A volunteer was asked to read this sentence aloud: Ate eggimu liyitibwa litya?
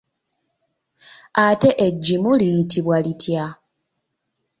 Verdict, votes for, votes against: accepted, 2, 0